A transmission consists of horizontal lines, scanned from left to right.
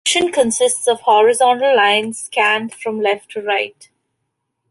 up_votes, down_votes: 0, 2